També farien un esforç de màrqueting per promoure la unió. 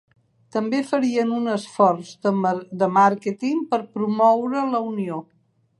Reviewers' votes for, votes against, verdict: 1, 2, rejected